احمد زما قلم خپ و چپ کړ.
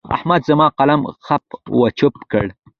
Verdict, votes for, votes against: accepted, 2, 1